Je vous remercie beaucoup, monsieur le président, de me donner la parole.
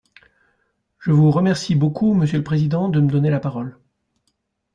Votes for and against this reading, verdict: 2, 0, accepted